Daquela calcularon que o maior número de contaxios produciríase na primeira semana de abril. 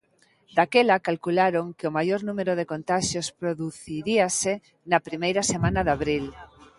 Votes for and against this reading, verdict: 1, 2, rejected